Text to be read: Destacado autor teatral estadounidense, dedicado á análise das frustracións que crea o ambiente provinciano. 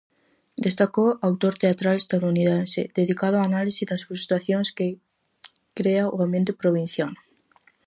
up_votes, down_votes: 0, 4